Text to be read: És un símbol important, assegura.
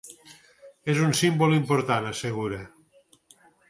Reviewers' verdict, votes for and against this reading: accepted, 8, 0